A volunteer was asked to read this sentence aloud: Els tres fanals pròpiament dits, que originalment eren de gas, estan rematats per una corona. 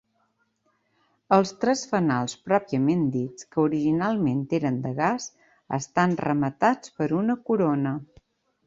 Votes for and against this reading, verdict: 3, 0, accepted